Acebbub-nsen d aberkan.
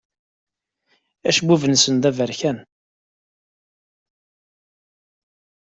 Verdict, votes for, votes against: accepted, 2, 0